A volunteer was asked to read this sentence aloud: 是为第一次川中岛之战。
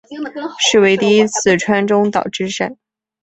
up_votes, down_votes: 2, 0